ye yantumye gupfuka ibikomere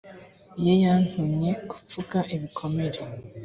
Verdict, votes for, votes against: accepted, 2, 0